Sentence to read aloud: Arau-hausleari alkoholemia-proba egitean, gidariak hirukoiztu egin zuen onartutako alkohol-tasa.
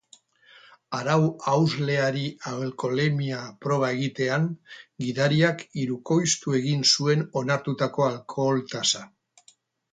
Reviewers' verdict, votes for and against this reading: rejected, 0, 4